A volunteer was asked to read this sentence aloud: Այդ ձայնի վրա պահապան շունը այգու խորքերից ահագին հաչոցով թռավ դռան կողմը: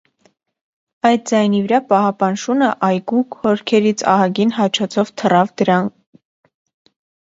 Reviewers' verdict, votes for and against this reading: rejected, 1, 2